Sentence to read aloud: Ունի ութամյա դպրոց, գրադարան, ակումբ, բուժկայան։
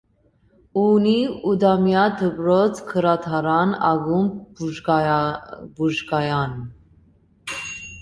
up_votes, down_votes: 0, 2